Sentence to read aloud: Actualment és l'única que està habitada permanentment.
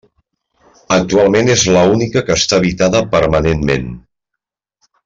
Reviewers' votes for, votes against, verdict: 1, 2, rejected